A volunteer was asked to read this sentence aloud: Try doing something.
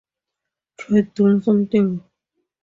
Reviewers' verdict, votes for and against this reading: accepted, 2, 0